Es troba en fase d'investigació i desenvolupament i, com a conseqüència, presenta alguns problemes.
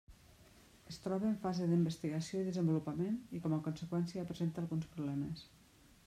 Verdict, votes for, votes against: rejected, 1, 2